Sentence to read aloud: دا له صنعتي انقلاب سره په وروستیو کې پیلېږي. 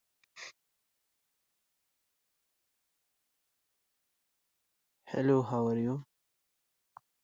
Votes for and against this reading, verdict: 0, 2, rejected